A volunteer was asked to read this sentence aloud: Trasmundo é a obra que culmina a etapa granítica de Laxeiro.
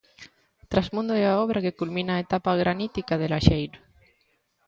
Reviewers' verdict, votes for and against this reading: accepted, 2, 0